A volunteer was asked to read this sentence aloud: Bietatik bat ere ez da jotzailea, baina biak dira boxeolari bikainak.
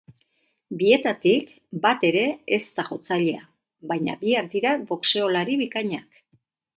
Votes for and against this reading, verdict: 4, 0, accepted